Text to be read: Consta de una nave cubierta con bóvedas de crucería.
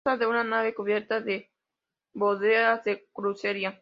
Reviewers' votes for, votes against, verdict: 0, 2, rejected